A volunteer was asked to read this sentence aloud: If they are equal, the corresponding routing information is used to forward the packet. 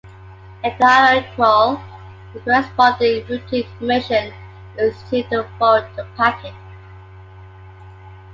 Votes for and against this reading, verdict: 2, 0, accepted